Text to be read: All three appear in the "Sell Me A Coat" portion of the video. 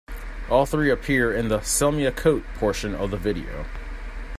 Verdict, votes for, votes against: accepted, 2, 0